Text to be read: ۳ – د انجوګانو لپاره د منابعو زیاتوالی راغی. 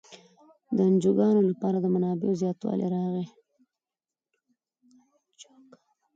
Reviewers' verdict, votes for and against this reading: rejected, 0, 2